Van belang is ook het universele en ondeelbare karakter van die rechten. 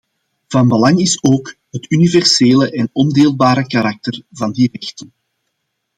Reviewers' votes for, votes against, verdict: 2, 0, accepted